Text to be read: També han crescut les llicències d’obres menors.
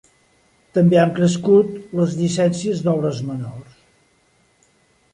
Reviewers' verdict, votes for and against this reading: accepted, 2, 0